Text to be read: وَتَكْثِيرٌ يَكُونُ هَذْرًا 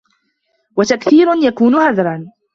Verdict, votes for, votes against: accepted, 2, 0